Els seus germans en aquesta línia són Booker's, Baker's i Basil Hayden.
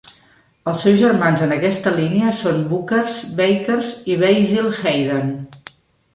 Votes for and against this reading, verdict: 2, 0, accepted